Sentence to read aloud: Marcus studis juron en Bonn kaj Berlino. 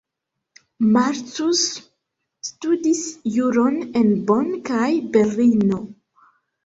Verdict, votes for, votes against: accepted, 2, 1